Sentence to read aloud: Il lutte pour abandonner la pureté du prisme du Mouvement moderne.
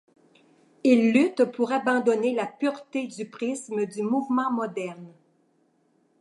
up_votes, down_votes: 2, 0